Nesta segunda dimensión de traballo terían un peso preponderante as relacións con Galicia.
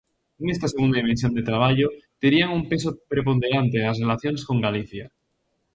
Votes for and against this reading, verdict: 2, 0, accepted